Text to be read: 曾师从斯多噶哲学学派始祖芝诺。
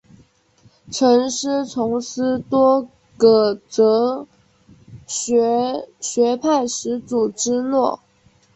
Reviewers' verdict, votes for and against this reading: accepted, 2, 0